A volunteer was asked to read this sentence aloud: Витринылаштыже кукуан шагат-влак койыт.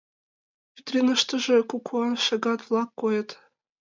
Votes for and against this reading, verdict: 2, 0, accepted